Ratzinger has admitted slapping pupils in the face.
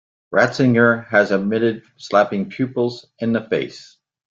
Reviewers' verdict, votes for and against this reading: accepted, 2, 1